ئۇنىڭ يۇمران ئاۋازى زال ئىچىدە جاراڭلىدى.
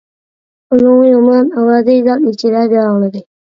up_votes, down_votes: 0, 2